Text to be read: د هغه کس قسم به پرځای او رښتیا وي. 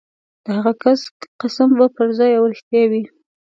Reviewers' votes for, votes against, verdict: 2, 0, accepted